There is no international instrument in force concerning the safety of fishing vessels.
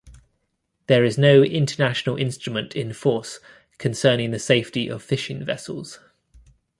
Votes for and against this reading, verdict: 2, 0, accepted